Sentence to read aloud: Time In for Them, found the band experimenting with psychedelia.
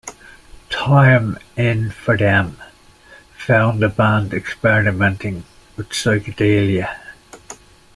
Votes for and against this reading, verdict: 2, 0, accepted